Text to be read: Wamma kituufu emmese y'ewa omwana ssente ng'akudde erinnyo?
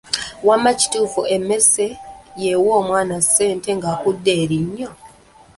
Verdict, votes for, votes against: rejected, 1, 2